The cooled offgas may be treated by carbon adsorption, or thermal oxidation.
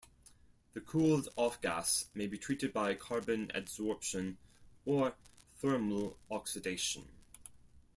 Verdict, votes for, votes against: accepted, 4, 2